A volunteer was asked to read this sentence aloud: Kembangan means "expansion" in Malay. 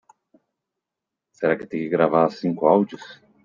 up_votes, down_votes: 1, 2